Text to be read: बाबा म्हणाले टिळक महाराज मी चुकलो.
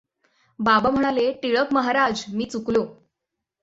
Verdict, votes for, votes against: accepted, 6, 0